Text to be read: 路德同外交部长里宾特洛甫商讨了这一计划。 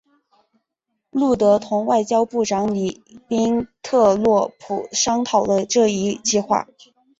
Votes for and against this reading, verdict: 2, 0, accepted